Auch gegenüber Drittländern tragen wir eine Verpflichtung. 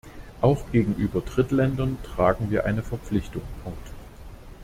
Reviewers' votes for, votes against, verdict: 1, 2, rejected